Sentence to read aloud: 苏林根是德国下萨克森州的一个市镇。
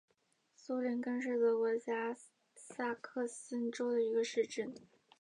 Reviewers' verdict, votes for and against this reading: accepted, 4, 1